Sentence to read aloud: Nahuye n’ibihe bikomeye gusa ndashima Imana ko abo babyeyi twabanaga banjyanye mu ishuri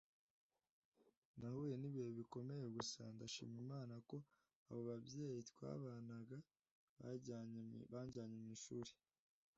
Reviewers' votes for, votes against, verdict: 0, 2, rejected